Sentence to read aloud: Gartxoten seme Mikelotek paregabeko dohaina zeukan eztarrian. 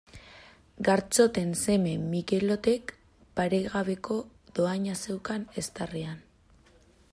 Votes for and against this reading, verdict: 2, 0, accepted